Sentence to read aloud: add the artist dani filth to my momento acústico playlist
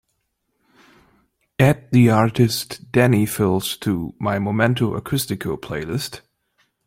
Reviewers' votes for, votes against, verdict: 2, 0, accepted